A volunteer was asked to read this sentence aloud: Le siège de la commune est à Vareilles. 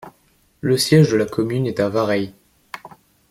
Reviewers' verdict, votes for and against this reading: rejected, 1, 2